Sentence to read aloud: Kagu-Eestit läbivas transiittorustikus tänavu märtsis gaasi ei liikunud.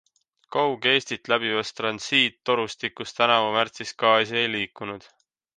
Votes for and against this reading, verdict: 2, 1, accepted